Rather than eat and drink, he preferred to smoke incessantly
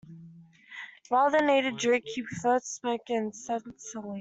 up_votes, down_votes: 0, 2